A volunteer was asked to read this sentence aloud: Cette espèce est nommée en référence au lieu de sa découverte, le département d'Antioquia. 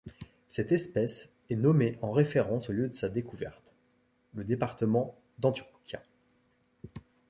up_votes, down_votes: 0, 2